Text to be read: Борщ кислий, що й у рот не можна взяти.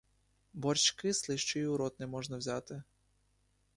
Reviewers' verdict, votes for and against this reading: accepted, 2, 1